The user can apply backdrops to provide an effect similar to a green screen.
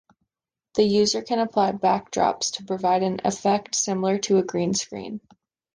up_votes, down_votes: 2, 0